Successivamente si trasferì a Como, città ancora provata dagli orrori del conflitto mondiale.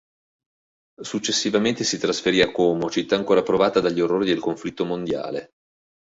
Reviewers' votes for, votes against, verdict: 2, 0, accepted